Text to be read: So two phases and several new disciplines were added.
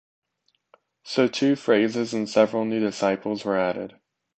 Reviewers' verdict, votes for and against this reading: rejected, 1, 2